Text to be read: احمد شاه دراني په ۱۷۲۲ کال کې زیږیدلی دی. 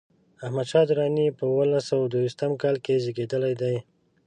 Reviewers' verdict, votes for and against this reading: rejected, 0, 2